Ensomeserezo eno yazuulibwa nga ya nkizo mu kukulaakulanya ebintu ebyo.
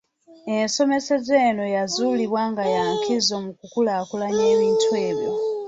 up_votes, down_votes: 0, 2